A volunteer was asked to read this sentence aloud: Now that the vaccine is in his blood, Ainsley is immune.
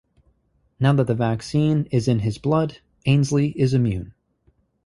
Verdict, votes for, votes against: rejected, 0, 2